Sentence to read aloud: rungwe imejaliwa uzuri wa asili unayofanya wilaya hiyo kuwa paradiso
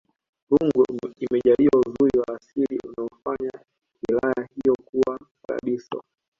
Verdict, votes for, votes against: accepted, 2, 0